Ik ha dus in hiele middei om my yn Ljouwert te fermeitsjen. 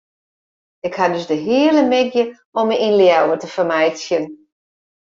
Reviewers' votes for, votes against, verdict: 0, 2, rejected